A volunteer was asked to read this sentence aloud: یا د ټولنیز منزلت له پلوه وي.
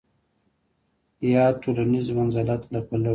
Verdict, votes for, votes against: accepted, 2, 1